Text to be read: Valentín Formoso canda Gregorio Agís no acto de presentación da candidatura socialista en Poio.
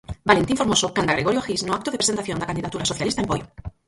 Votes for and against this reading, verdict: 0, 4, rejected